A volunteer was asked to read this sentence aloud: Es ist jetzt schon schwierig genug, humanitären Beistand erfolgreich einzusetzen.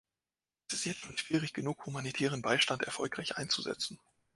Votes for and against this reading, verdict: 1, 2, rejected